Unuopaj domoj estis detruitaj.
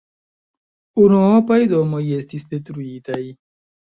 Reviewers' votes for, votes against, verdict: 2, 1, accepted